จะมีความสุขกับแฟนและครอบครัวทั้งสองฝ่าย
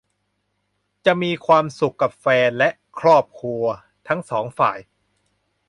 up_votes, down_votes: 2, 0